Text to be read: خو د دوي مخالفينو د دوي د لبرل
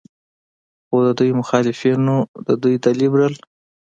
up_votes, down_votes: 2, 0